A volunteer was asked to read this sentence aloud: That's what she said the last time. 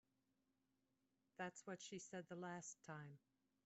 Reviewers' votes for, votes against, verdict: 2, 0, accepted